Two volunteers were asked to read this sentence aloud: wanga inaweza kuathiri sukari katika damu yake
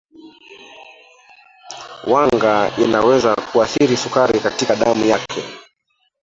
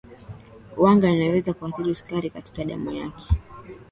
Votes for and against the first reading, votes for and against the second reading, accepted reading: 0, 2, 3, 2, second